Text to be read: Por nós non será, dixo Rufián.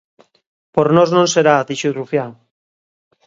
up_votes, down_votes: 2, 0